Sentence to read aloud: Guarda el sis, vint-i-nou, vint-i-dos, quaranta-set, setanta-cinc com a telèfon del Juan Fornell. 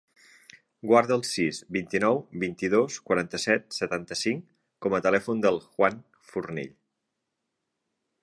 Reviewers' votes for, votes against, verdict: 3, 0, accepted